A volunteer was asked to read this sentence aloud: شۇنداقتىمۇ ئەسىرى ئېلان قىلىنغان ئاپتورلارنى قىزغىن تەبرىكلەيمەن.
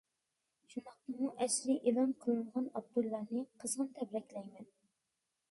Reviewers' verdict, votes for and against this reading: rejected, 1, 2